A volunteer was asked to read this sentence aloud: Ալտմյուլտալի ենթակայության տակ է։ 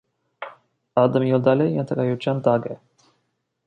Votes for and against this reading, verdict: 1, 2, rejected